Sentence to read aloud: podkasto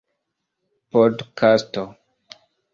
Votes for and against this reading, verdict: 2, 0, accepted